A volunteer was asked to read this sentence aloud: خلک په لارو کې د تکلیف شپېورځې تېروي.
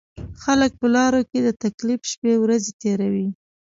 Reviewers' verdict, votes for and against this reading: accepted, 2, 0